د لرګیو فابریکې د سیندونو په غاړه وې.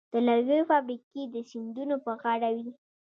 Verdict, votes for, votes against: accepted, 2, 0